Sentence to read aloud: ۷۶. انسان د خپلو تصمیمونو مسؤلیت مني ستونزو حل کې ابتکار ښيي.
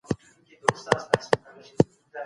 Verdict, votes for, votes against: rejected, 0, 2